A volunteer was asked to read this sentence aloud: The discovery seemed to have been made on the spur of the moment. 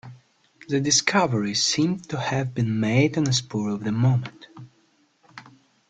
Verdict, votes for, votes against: accepted, 2, 0